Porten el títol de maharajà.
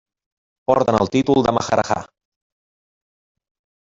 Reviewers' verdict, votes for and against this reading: accepted, 2, 0